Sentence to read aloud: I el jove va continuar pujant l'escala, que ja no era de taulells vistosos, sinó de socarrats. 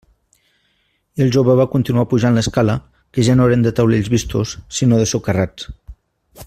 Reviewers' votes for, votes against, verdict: 1, 2, rejected